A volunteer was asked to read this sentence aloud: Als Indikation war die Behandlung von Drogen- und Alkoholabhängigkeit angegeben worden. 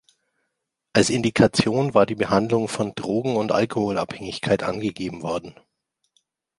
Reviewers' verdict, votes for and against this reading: accepted, 2, 0